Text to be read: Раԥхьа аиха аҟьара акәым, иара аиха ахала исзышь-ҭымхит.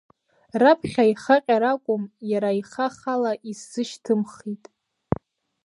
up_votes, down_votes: 2, 0